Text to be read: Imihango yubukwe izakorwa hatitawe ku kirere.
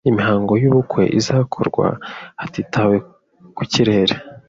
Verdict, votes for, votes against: accepted, 2, 0